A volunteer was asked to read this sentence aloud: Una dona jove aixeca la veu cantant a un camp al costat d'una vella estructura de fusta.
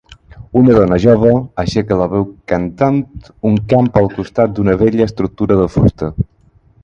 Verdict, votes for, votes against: rejected, 2, 6